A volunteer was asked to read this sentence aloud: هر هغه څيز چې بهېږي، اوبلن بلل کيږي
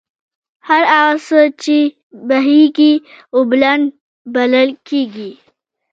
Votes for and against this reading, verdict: 1, 2, rejected